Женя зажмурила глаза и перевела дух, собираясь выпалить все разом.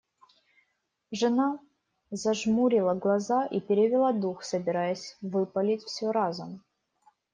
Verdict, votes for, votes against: rejected, 1, 2